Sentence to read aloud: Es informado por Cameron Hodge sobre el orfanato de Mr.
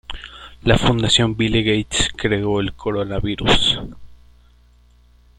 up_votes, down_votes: 0, 2